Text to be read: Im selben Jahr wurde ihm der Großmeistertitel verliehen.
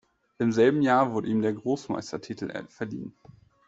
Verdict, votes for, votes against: rejected, 1, 2